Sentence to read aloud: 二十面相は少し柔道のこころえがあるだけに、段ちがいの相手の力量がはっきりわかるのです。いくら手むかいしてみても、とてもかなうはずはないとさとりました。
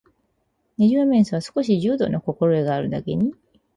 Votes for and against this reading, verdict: 0, 2, rejected